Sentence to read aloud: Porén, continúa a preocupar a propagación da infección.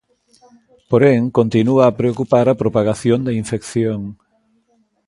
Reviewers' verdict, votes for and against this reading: accepted, 2, 0